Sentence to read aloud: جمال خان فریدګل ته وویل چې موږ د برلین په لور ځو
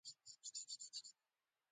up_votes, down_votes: 0, 2